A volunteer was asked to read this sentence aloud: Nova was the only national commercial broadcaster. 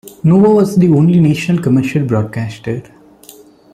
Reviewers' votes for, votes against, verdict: 1, 2, rejected